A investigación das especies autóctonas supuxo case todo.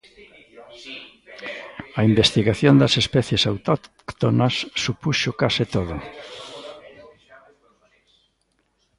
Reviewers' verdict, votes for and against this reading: rejected, 1, 2